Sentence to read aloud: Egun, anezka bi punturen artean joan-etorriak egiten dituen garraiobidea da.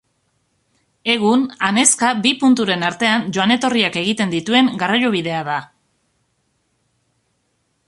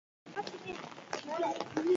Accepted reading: first